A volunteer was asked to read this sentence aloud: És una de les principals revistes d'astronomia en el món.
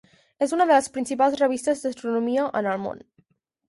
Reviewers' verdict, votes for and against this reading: accepted, 6, 0